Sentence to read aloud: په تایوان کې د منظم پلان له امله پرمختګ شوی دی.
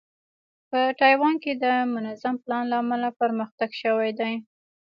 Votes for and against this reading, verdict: 0, 2, rejected